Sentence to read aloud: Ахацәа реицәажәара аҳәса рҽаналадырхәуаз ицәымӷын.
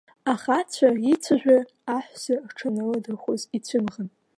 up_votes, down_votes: 1, 2